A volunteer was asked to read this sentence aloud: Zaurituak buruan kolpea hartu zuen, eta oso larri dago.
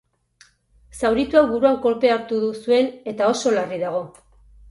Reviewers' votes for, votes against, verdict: 2, 4, rejected